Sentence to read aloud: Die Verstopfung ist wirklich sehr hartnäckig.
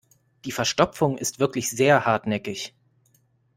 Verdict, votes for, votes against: accepted, 2, 0